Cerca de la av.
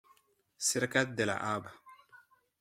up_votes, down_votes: 2, 0